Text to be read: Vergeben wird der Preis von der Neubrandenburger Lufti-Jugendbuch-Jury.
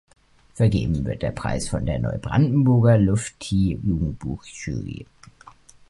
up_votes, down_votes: 2, 0